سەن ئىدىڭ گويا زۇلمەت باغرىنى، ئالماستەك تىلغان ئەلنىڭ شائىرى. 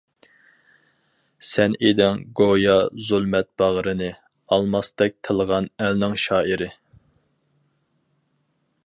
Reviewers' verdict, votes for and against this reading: accepted, 4, 0